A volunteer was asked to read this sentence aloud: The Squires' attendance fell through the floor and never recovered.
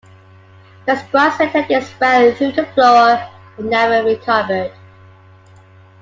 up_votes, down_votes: 0, 2